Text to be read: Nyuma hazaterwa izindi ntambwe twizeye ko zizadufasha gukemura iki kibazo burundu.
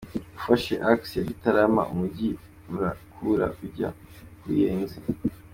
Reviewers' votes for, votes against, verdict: 0, 2, rejected